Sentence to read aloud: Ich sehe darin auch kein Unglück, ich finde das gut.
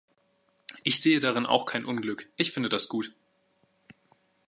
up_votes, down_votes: 2, 0